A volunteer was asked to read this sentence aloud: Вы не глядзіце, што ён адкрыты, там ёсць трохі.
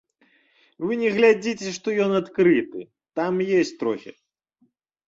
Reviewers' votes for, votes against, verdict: 0, 2, rejected